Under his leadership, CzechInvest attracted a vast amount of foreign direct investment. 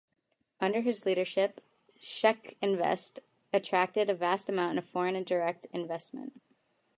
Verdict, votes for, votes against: accepted, 3, 0